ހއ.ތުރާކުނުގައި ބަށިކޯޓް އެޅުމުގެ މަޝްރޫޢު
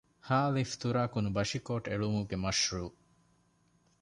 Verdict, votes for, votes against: rejected, 0, 2